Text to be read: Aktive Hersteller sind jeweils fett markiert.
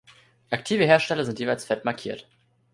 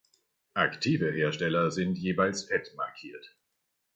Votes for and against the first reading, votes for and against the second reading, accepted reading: 2, 0, 1, 2, first